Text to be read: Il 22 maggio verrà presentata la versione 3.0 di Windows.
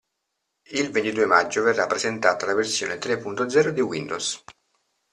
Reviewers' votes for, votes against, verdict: 0, 2, rejected